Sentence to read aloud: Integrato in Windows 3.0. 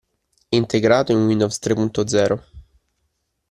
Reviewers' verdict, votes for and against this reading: rejected, 0, 2